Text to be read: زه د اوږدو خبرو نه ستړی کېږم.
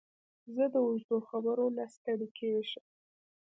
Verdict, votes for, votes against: accepted, 2, 0